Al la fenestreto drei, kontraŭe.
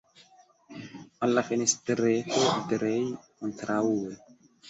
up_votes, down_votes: 1, 2